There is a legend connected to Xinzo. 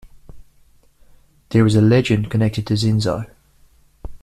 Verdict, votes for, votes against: accepted, 2, 0